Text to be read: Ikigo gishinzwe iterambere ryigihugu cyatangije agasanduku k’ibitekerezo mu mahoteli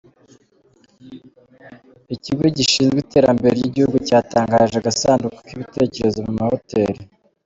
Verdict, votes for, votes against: rejected, 1, 2